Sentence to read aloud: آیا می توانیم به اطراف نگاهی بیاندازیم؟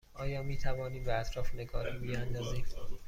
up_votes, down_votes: 2, 0